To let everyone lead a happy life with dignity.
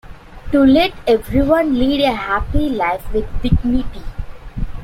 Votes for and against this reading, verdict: 2, 0, accepted